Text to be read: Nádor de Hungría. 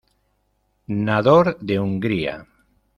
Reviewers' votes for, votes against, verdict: 0, 2, rejected